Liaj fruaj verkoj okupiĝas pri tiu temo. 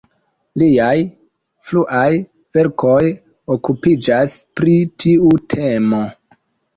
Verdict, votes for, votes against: rejected, 0, 2